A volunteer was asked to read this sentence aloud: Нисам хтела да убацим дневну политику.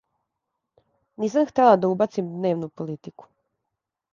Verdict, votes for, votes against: accepted, 2, 0